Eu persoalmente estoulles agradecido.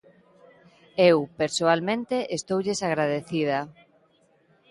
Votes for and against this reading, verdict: 1, 2, rejected